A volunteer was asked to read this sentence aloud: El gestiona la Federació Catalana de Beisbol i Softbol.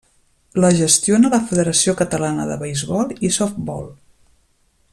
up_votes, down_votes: 0, 2